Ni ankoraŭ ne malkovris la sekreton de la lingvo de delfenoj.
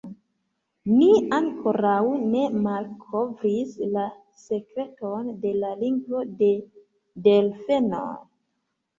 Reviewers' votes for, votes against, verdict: 0, 2, rejected